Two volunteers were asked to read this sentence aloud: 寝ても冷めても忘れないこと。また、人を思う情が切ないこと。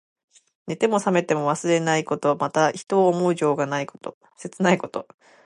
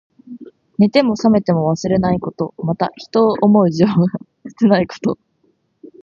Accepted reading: second